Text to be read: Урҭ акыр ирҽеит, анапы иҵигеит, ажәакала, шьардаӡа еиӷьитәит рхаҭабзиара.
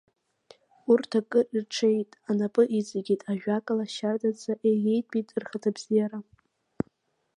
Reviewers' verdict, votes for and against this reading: rejected, 1, 2